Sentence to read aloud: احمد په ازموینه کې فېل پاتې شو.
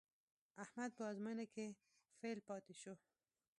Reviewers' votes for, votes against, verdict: 1, 2, rejected